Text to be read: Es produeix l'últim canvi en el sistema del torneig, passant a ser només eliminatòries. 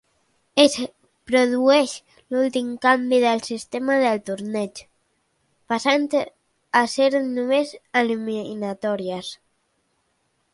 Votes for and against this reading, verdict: 0, 2, rejected